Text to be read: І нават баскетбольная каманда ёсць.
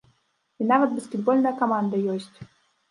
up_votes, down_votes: 2, 0